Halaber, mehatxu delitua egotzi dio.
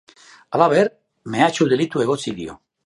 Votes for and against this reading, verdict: 2, 0, accepted